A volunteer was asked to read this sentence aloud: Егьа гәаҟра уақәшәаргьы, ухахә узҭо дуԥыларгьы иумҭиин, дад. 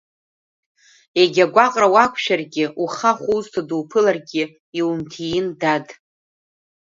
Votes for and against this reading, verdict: 2, 0, accepted